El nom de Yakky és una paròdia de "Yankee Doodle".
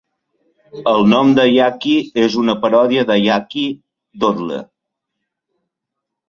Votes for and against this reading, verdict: 0, 2, rejected